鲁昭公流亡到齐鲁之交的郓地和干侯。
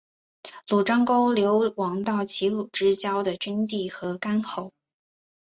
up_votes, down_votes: 2, 1